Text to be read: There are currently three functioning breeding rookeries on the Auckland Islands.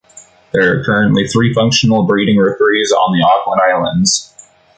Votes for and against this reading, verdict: 0, 2, rejected